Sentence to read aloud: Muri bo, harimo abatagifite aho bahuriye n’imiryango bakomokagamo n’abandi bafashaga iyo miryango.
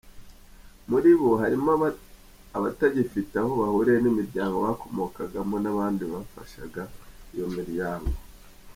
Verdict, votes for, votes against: accepted, 2, 0